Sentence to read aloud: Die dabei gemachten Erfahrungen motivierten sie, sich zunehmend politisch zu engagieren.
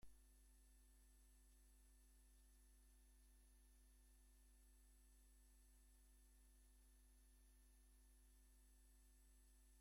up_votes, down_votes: 0, 2